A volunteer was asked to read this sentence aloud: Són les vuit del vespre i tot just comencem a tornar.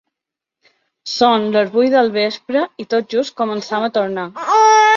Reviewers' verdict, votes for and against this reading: rejected, 0, 2